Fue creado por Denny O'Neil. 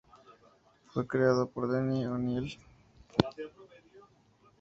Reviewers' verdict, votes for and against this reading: accepted, 2, 0